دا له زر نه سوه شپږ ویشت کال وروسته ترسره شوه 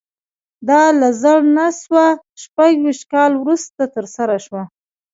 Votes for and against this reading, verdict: 2, 1, accepted